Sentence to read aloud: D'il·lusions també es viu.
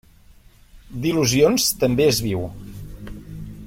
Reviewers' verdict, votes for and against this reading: accepted, 2, 0